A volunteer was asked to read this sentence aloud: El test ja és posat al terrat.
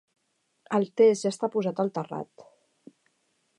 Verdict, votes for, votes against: rejected, 1, 2